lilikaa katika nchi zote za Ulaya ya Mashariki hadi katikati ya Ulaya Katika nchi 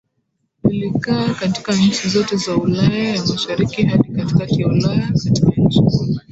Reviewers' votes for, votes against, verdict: 0, 2, rejected